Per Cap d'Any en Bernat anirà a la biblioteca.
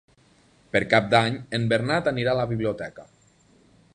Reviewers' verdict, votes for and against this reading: accepted, 3, 0